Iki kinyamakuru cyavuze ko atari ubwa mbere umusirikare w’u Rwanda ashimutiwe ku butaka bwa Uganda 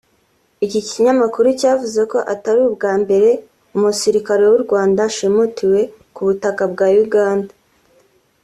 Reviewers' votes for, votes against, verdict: 2, 0, accepted